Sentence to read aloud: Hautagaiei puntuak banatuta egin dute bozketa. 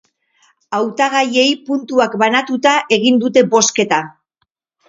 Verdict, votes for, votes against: accepted, 2, 0